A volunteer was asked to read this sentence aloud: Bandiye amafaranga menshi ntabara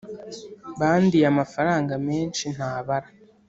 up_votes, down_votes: 2, 0